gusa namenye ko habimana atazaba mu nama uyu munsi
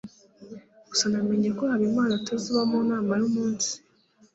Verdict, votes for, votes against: accepted, 2, 0